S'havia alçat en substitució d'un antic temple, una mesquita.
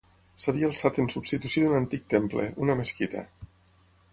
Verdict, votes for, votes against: accepted, 6, 0